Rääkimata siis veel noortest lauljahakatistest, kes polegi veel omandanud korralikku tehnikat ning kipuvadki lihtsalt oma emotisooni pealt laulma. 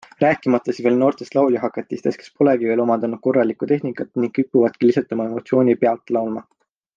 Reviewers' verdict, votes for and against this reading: accepted, 2, 1